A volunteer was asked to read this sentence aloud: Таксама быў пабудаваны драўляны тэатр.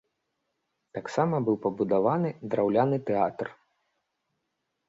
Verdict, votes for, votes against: accepted, 2, 0